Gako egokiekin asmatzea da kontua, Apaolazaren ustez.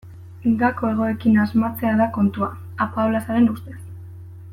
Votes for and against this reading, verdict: 0, 2, rejected